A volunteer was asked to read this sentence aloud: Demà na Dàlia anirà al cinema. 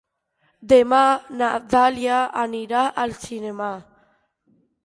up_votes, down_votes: 1, 2